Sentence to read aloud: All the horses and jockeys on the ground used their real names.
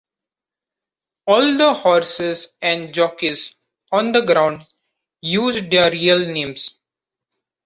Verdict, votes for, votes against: accepted, 2, 0